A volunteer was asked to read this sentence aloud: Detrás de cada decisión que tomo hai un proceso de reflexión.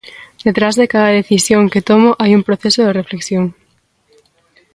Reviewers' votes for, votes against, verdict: 2, 0, accepted